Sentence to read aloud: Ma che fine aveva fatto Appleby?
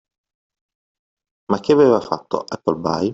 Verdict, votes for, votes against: rejected, 0, 2